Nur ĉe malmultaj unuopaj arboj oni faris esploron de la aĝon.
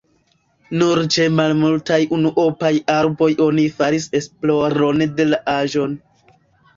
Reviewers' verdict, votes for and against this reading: rejected, 0, 2